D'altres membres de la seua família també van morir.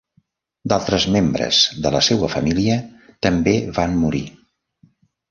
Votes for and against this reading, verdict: 2, 0, accepted